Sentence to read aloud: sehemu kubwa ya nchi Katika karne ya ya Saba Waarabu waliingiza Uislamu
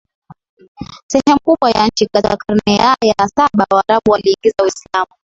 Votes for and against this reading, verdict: 1, 2, rejected